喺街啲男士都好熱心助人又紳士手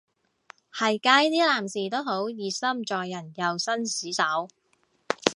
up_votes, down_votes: 2, 2